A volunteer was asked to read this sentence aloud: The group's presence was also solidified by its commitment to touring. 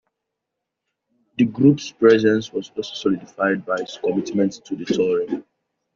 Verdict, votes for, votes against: accepted, 2, 0